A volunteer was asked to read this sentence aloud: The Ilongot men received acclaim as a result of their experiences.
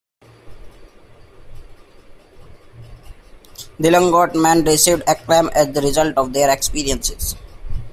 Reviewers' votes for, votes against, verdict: 2, 1, accepted